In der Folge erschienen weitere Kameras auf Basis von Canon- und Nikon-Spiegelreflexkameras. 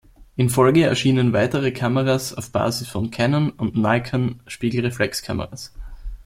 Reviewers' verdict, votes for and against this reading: rejected, 0, 2